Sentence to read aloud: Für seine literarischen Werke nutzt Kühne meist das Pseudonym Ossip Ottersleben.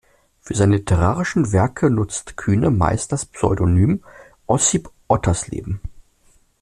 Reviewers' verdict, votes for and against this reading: accepted, 2, 0